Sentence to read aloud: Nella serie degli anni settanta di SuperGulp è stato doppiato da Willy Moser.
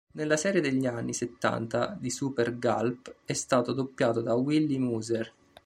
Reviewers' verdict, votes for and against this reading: rejected, 0, 2